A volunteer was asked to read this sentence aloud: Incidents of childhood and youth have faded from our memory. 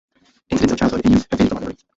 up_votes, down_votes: 0, 2